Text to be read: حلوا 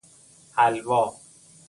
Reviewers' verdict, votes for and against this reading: accepted, 2, 0